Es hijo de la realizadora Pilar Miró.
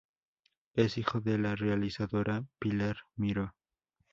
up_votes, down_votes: 2, 0